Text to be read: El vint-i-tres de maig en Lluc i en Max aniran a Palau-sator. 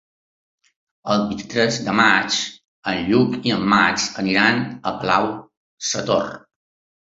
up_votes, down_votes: 2, 1